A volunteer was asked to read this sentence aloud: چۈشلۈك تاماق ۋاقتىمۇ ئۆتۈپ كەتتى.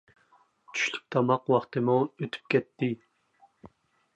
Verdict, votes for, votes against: accepted, 2, 0